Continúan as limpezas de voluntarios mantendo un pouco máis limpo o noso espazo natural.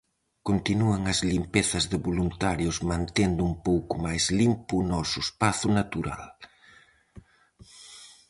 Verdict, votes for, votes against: accepted, 4, 0